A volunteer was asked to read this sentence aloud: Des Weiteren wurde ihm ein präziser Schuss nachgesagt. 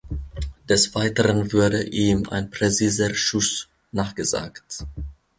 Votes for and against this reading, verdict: 0, 2, rejected